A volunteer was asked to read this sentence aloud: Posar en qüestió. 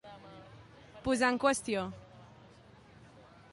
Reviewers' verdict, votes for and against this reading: accepted, 2, 0